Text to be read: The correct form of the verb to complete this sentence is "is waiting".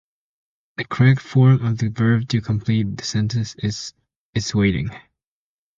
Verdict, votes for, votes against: accepted, 2, 0